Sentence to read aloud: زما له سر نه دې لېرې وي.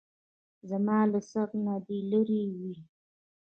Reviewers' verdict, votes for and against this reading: accepted, 2, 1